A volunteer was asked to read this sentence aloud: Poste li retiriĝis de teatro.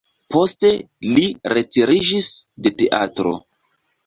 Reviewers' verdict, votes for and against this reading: accepted, 2, 0